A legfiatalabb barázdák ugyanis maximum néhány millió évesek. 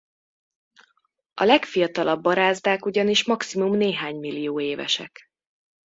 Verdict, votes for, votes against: accepted, 2, 0